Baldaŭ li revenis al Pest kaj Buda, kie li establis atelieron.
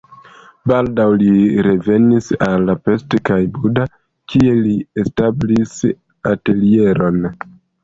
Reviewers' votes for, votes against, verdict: 2, 0, accepted